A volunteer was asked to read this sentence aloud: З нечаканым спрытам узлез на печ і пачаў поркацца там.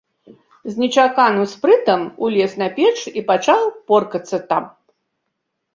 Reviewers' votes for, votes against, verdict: 1, 2, rejected